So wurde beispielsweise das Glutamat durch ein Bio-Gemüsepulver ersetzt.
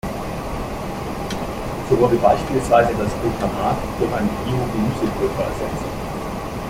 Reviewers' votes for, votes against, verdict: 0, 2, rejected